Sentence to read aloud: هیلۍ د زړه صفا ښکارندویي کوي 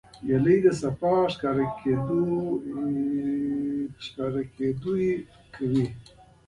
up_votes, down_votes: 1, 2